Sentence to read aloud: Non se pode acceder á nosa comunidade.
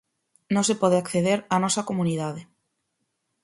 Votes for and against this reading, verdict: 4, 0, accepted